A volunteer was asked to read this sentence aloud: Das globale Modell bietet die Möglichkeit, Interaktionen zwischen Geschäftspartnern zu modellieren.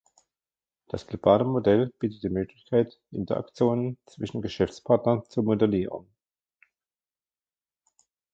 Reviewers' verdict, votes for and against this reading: accepted, 2, 1